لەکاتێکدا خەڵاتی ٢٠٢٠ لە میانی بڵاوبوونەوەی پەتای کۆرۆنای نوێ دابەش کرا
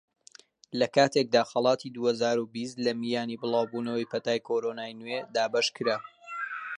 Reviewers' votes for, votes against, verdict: 0, 2, rejected